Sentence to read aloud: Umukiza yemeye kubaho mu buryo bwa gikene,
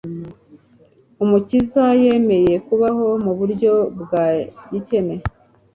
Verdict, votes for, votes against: accepted, 2, 0